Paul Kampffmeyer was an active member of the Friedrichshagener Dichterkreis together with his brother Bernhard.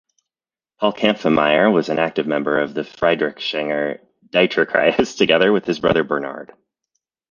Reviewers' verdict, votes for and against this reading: rejected, 1, 2